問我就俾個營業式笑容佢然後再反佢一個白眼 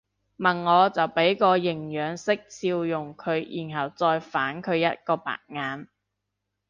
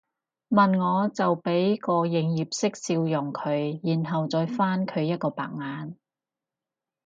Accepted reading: second